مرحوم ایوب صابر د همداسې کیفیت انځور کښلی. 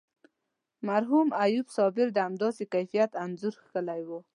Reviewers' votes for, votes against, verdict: 1, 2, rejected